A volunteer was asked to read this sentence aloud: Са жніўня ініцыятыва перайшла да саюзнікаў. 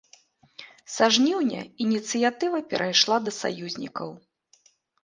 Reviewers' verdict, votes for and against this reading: accepted, 3, 0